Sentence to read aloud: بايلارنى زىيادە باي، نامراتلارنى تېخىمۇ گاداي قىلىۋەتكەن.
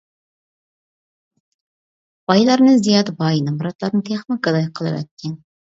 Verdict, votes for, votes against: accepted, 2, 0